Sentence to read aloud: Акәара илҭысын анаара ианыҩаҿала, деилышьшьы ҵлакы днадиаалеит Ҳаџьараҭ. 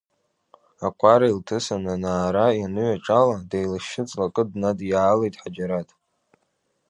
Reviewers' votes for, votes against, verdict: 2, 0, accepted